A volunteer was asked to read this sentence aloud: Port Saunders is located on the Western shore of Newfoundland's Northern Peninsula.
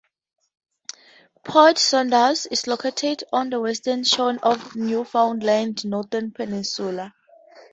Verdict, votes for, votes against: rejected, 0, 2